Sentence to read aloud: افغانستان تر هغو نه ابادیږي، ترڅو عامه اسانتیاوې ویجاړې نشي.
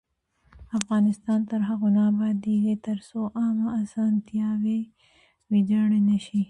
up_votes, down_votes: 2, 1